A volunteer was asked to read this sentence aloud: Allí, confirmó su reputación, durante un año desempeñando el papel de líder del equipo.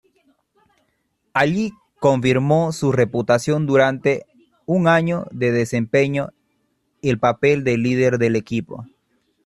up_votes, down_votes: 0, 2